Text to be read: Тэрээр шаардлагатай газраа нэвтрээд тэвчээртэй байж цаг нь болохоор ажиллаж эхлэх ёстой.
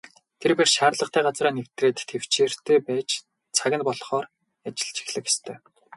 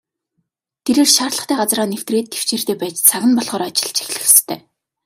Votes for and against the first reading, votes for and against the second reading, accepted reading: 0, 2, 2, 0, second